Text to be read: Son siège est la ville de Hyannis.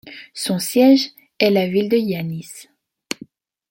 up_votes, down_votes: 2, 0